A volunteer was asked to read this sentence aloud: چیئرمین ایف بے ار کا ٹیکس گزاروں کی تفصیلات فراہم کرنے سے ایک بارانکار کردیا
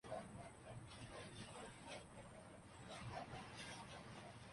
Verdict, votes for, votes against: rejected, 0, 2